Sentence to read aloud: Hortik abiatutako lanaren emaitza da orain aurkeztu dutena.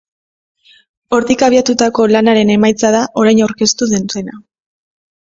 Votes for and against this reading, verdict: 2, 1, accepted